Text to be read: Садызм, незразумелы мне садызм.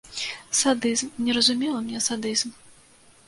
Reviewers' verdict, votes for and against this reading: rejected, 0, 2